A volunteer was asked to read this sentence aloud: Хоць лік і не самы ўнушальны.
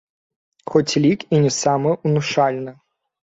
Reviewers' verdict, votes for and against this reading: rejected, 1, 2